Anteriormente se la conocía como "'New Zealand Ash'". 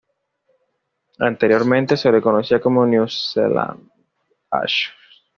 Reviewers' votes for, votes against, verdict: 1, 2, rejected